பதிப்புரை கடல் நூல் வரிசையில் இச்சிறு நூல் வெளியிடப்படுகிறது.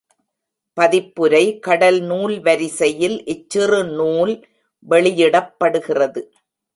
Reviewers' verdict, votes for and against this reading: rejected, 1, 2